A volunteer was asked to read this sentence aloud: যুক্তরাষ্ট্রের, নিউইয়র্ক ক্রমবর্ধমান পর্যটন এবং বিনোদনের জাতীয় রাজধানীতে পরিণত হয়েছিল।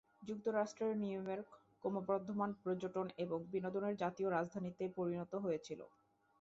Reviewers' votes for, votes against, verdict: 1, 2, rejected